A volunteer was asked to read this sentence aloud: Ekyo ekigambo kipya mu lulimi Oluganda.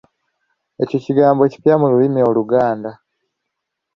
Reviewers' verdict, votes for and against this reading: rejected, 1, 2